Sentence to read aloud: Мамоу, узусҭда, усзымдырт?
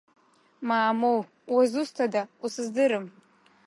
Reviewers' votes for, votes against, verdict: 0, 2, rejected